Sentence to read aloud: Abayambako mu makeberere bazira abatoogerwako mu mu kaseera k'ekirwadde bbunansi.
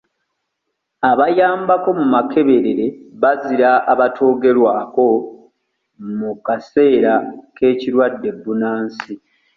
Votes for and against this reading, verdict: 1, 2, rejected